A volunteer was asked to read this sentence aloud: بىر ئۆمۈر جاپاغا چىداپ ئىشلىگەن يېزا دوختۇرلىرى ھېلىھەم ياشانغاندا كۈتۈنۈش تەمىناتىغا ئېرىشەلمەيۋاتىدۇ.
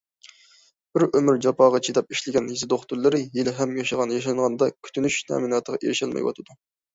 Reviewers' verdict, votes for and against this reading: rejected, 0, 2